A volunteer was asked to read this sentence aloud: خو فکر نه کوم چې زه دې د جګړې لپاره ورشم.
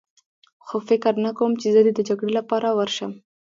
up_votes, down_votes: 2, 0